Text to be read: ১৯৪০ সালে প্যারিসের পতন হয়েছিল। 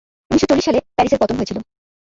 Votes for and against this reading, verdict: 0, 2, rejected